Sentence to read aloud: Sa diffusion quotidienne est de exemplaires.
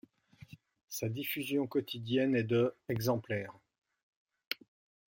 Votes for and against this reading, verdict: 2, 0, accepted